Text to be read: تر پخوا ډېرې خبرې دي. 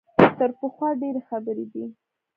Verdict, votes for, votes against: accepted, 3, 0